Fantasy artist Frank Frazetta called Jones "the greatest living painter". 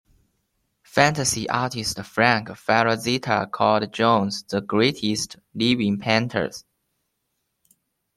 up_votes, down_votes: 1, 2